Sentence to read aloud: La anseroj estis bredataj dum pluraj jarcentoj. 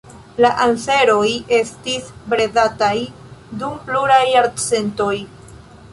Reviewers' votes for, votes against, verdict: 2, 0, accepted